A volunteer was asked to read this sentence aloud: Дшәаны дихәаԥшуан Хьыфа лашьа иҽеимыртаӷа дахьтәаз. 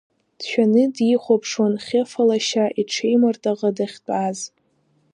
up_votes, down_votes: 1, 2